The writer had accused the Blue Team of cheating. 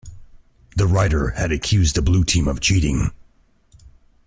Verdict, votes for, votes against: accepted, 2, 0